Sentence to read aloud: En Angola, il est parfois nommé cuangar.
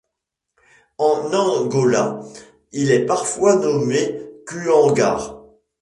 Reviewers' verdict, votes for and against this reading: accepted, 2, 1